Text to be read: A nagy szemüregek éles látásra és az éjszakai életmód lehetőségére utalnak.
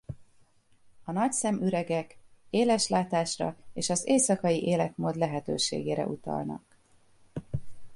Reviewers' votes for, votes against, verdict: 2, 0, accepted